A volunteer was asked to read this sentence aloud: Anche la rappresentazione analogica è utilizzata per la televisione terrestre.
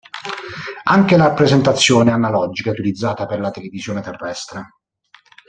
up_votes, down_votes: 1, 2